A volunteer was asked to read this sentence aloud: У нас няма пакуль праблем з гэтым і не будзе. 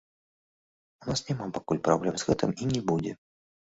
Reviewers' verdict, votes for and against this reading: rejected, 1, 2